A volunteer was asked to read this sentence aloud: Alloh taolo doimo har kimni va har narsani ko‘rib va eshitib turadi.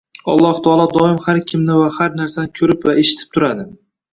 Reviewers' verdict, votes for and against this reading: rejected, 1, 2